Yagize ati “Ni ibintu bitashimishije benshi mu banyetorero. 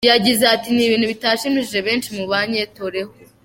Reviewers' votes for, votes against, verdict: 0, 3, rejected